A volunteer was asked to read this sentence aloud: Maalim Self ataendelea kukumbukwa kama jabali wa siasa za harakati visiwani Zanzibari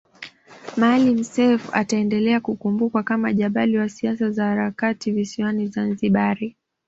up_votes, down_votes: 2, 0